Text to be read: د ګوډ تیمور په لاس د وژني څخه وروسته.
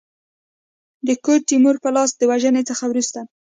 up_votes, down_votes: 2, 0